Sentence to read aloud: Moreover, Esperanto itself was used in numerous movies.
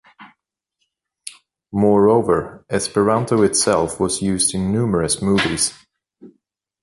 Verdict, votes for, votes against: accepted, 2, 0